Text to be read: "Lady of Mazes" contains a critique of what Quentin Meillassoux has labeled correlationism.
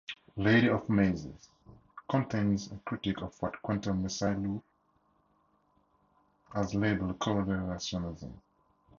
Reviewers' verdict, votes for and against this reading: rejected, 0, 2